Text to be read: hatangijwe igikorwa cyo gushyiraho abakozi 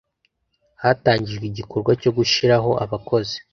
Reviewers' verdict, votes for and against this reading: accepted, 2, 0